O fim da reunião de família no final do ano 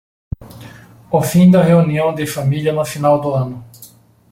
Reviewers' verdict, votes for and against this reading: rejected, 1, 2